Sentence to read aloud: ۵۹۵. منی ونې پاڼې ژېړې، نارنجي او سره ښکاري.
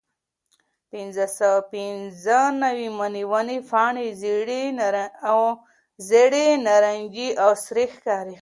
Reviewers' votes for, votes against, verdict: 0, 2, rejected